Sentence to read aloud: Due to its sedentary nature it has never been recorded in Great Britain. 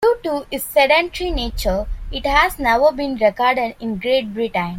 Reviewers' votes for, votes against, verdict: 1, 2, rejected